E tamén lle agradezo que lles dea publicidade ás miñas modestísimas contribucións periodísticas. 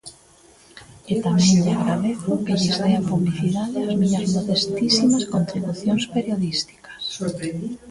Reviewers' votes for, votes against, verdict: 0, 2, rejected